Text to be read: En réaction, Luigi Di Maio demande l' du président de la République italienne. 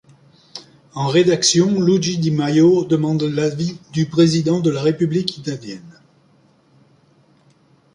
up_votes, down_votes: 2, 1